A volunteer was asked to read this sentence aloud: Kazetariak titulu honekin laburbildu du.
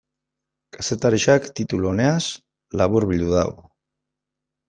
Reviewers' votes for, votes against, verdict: 0, 2, rejected